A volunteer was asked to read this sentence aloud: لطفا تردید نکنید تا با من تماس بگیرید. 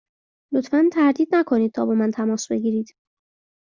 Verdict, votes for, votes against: accepted, 2, 0